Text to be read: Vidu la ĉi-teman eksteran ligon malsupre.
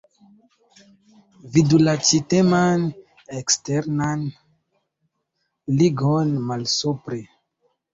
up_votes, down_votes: 1, 2